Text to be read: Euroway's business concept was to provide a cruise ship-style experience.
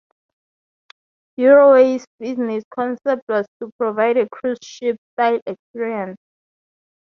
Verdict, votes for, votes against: rejected, 2, 2